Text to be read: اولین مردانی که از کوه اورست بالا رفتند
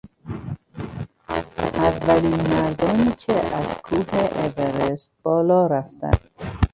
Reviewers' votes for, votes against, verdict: 0, 2, rejected